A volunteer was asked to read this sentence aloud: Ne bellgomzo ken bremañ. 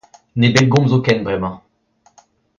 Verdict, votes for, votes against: accepted, 2, 0